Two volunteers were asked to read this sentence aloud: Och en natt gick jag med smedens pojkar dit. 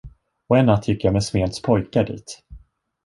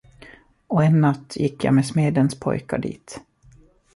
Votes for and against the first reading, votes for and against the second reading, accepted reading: 1, 2, 2, 0, second